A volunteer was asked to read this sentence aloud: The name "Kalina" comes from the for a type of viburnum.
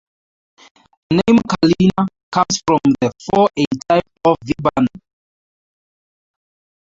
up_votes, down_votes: 0, 2